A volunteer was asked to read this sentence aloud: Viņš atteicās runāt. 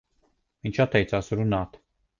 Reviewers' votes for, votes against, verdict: 2, 0, accepted